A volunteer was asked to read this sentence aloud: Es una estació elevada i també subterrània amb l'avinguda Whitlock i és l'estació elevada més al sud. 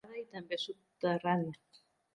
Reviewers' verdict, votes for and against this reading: rejected, 0, 2